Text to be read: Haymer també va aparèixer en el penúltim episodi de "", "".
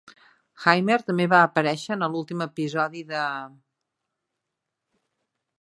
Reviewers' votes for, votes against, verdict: 1, 2, rejected